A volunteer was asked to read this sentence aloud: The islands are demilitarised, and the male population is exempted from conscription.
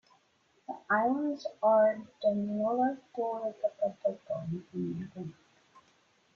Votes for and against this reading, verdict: 0, 2, rejected